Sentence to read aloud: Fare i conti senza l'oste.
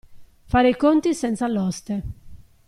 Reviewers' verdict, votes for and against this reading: accepted, 2, 0